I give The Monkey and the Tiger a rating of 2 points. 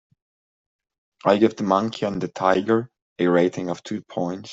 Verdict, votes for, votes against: rejected, 0, 2